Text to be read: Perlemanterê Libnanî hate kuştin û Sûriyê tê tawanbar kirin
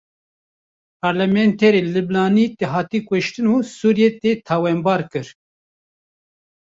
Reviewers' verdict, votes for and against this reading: rejected, 1, 2